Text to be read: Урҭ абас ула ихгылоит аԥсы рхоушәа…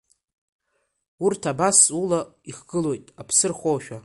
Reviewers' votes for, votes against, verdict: 2, 0, accepted